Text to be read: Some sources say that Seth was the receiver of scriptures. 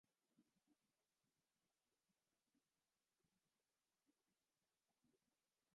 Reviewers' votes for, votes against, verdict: 0, 2, rejected